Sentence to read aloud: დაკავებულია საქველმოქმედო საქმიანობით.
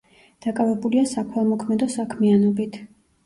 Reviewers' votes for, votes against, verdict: 0, 2, rejected